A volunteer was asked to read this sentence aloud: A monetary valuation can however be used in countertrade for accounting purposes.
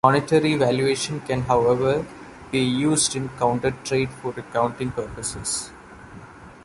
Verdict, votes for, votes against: rejected, 1, 2